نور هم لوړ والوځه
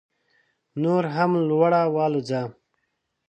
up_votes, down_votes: 1, 2